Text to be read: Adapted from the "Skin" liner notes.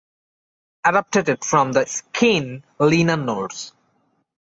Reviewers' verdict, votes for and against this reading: rejected, 0, 2